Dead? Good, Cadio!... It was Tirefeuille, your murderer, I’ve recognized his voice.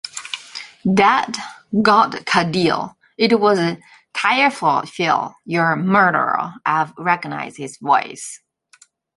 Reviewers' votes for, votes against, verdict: 1, 2, rejected